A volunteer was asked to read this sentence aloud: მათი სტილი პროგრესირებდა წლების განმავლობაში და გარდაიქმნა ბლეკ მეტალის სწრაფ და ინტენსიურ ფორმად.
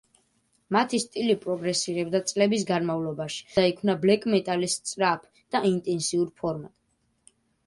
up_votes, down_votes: 1, 2